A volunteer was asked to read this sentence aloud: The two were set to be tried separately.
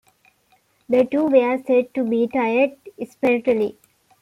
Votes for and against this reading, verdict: 0, 2, rejected